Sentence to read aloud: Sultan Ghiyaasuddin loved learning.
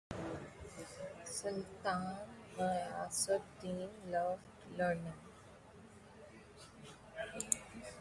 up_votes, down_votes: 1, 2